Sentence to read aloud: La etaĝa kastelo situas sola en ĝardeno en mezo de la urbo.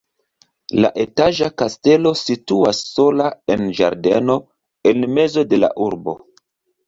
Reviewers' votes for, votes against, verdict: 2, 0, accepted